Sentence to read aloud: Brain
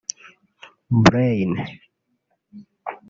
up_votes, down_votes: 1, 2